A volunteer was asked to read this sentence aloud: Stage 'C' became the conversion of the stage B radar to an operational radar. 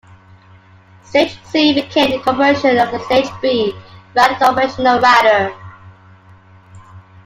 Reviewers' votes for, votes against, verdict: 0, 2, rejected